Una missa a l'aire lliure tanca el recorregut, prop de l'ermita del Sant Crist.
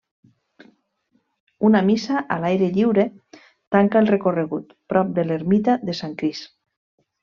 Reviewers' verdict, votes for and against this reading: rejected, 0, 2